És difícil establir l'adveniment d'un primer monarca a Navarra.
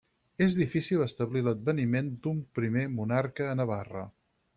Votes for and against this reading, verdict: 6, 0, accepted